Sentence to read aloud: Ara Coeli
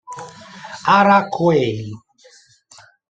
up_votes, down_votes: 1, 2